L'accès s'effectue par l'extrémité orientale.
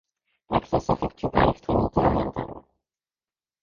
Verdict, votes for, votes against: rejected, 0, 2